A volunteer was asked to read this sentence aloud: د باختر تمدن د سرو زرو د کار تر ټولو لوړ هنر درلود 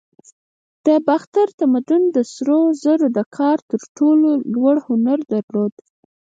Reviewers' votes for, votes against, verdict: 2, 4, rejected